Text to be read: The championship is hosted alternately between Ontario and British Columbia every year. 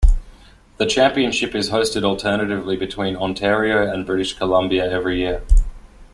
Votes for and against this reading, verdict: 0, 2, rejected